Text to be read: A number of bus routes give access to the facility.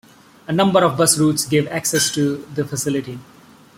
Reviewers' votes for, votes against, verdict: 2, 0, accepted